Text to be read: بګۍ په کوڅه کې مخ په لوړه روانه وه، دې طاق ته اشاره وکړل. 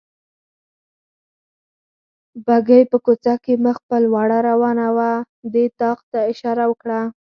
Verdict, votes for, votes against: accepted, 4, 0